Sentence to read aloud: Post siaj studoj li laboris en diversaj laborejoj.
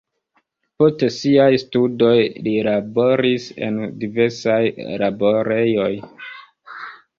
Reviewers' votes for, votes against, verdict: 1, 2, rejected